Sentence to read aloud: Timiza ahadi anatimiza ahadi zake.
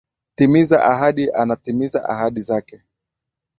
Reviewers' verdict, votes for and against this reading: accepted, 2, 0